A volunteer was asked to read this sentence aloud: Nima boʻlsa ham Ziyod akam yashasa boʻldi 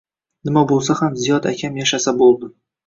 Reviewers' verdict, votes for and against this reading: accepted, 2, 0